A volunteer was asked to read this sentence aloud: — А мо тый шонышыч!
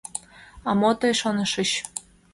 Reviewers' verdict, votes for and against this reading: accepted, 2, 0